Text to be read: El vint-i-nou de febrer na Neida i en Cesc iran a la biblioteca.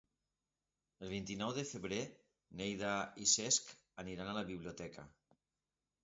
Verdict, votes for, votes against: rejected, 1, 2